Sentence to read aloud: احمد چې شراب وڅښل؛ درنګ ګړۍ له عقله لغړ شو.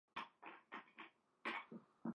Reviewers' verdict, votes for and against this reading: rejected, 1, 2